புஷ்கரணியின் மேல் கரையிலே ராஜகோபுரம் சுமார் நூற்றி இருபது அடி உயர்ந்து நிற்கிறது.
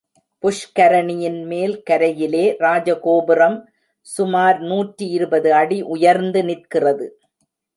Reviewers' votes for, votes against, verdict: 2, 0, accepted